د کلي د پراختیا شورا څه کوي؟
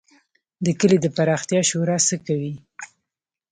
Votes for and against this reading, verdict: 2, 0, accepted